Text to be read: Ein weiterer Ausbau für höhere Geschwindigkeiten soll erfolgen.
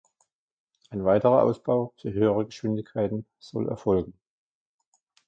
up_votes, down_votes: 2, 0